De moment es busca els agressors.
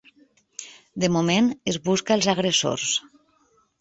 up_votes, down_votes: 3, 0